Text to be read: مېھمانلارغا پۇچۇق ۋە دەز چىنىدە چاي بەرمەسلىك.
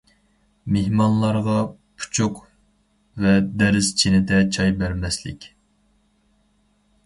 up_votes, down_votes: 2, 2